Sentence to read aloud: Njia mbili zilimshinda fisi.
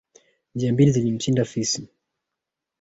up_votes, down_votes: 3, 1